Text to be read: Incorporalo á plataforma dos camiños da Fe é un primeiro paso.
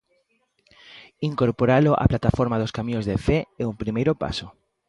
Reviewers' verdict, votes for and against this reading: rejected, 0, 2